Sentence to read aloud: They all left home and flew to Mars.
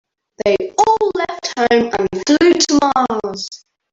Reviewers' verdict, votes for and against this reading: rejected, 2, 3